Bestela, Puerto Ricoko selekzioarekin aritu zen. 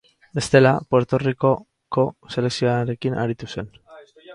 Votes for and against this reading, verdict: 2, 2, rejected